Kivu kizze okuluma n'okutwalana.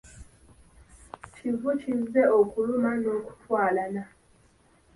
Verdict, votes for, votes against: accepted, 2, 1